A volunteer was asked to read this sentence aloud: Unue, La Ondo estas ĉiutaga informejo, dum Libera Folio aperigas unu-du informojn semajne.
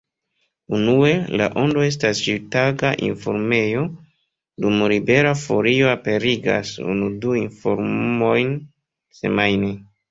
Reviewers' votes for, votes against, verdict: 2, 1, accepted